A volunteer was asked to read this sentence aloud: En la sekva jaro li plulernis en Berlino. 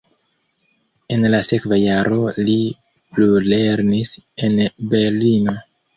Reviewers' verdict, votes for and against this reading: accepted, 2, 0